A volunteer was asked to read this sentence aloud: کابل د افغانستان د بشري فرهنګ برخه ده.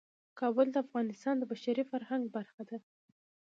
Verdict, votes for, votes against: rejected, 1, 2